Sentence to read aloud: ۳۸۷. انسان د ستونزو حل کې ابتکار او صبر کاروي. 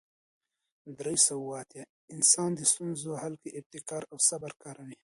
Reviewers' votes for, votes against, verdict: 0, 2, rejected